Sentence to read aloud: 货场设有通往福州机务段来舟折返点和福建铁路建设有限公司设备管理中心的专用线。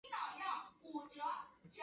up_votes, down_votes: 0, 2